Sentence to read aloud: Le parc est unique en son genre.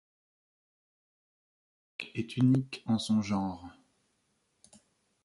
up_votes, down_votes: 1, 2